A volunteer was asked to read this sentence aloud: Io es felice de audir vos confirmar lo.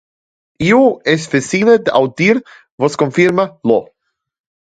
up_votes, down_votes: 0, 2